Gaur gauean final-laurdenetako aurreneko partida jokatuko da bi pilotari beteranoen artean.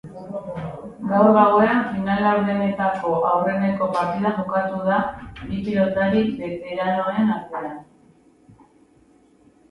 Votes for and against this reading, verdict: 0, 2, rejected